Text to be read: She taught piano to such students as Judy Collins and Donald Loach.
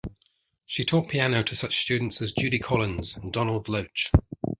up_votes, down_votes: 2, 0